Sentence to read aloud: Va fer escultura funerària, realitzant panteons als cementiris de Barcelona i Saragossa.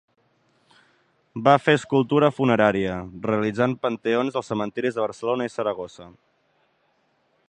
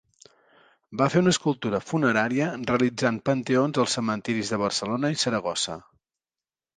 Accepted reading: first